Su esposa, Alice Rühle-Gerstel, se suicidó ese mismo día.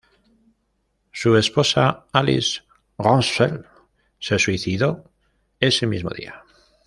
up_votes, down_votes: 1, 2